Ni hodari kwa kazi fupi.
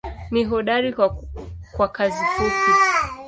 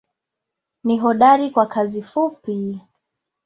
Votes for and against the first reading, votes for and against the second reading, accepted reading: 0, 2, 2, 0, second